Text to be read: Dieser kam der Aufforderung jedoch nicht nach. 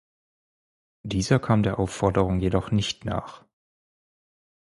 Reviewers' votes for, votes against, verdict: 4, 0, accepted